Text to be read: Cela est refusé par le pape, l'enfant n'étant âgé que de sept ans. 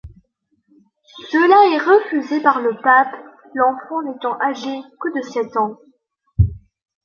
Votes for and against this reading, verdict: 2, 0, accepted